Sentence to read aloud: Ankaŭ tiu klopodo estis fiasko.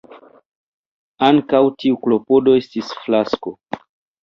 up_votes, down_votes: 2, 1